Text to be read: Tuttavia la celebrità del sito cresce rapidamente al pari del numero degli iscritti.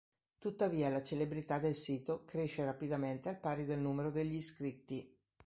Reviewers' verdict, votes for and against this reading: accepted, 2, 0